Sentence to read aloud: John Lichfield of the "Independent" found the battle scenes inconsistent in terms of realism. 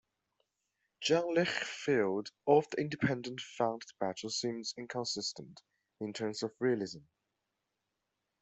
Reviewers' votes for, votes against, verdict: 2, 0, accepted